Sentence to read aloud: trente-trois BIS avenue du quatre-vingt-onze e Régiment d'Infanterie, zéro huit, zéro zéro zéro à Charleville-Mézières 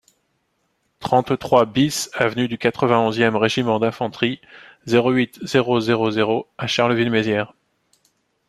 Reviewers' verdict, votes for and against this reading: accepted, 2, 1